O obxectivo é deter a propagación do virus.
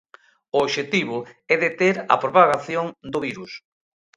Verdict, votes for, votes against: accepted, 2, 0